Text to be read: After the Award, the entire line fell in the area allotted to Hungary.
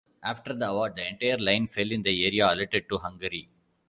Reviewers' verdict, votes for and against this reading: rejected, 1, 2